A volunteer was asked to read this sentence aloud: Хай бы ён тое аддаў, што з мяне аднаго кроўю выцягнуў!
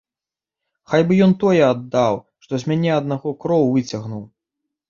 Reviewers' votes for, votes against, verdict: 2, 3, rejected